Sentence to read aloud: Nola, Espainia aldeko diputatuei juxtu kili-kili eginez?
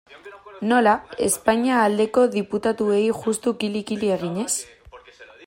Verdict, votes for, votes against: accepted, 2, 0